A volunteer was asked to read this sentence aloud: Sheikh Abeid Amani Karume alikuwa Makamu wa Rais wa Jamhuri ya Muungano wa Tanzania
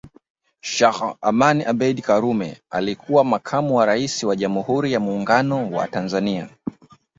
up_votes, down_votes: 2, 0